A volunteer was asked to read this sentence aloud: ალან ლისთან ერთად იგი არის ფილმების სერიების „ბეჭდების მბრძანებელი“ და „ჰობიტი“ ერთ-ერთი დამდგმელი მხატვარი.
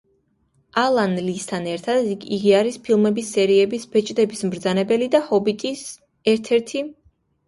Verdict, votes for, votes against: accepted, 2, 0